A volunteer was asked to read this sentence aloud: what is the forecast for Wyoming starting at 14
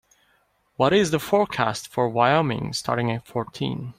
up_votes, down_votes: 0, 2